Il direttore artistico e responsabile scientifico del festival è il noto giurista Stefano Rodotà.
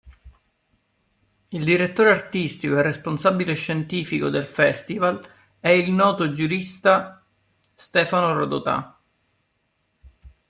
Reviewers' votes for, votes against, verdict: 2, 0, accepted